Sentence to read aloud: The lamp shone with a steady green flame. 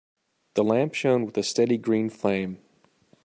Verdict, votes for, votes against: accepted, 2, 0